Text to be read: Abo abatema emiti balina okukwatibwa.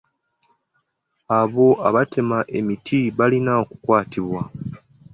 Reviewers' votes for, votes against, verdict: 2, 0, accepted